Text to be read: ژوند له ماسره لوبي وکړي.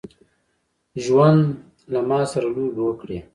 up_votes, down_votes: 1, 2